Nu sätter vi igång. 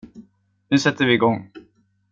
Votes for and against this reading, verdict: 2, 0, accepted